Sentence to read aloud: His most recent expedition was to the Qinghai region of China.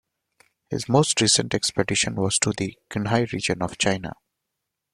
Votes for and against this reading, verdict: 0, 2, rejected